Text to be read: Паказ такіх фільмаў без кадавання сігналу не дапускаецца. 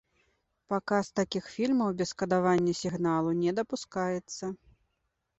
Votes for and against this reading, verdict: 2, 0, accepted